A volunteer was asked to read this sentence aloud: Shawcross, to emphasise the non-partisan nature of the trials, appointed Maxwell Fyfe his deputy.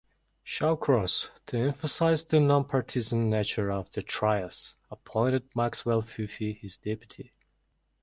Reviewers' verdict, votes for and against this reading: rejected, 1, 2